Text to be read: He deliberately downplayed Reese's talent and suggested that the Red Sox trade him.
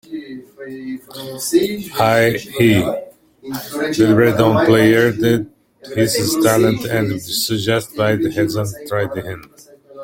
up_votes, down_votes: 0, 2